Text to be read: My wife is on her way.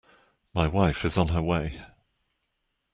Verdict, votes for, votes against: accepted, 2, 0